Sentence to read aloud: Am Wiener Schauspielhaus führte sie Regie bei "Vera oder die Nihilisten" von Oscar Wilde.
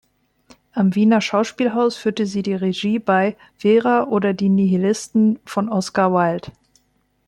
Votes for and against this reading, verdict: 1, 2, rejected